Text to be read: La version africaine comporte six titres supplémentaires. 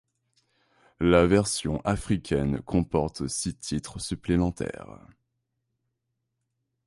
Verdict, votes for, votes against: accepted, 2, 0